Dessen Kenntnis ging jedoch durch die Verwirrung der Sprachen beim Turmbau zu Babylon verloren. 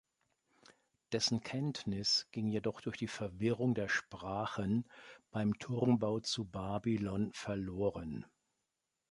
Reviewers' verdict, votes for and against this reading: accepted, 2, 0